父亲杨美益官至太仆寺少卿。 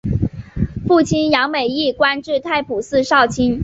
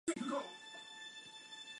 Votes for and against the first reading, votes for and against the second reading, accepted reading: 4, 3, 0, 2, first